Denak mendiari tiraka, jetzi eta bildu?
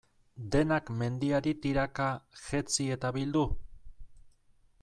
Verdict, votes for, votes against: accepted, 2, 0